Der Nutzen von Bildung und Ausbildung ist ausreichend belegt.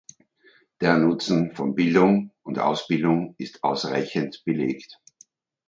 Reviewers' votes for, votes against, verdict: 2, 0, accepted